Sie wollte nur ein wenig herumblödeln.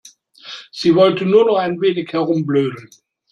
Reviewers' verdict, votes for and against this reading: rejected, 1, 2